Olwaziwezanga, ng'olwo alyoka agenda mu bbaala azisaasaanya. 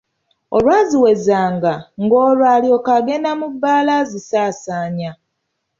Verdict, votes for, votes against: accepted, 2, 0